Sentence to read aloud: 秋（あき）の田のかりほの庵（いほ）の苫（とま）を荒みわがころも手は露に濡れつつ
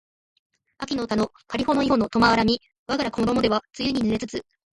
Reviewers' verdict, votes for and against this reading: accepted, 2, 0